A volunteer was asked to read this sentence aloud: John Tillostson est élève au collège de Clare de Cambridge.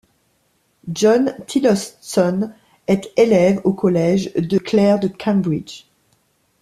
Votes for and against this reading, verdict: 1, 2, rejected